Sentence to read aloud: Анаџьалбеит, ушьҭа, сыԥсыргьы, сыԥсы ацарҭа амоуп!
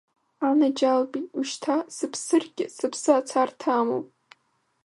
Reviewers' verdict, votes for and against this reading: rejected, 1, 2